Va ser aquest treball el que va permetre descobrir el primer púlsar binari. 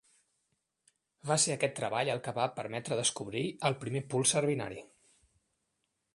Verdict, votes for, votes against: accepted, 2, 0